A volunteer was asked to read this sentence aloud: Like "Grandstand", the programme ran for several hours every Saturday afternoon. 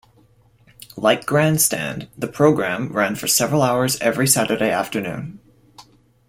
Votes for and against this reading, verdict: 2, 0, accepted